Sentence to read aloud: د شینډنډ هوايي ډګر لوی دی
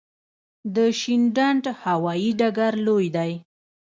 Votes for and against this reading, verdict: 2, 0, accepted